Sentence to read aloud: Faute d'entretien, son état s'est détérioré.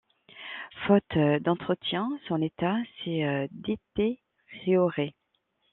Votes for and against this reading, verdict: 1, 2, rejected